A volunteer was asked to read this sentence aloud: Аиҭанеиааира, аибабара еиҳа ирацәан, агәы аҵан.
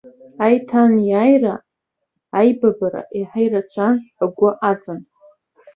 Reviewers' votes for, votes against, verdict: 2, 0, accepted